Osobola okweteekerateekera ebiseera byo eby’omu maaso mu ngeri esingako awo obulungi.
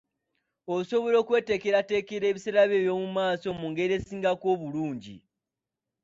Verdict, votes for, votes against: rejected, 0, 2